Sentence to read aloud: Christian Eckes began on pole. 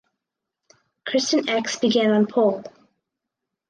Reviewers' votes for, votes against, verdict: 4, 0, accepted